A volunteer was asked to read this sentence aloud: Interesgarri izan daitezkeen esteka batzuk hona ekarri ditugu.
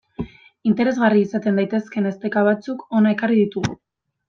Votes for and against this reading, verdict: 0, 2, rejected